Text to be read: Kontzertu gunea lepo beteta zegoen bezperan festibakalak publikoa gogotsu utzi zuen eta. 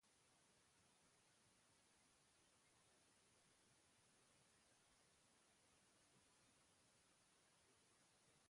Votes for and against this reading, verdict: 0, 2, rejected